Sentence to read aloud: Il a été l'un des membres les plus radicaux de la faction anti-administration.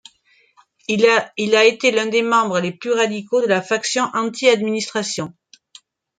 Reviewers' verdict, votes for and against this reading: rejected, 0, 2